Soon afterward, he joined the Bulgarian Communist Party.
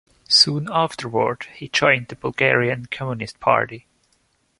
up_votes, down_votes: 0, 2